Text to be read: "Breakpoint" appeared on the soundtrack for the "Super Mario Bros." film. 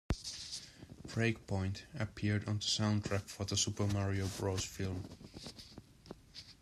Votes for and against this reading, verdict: 0, 2, rejected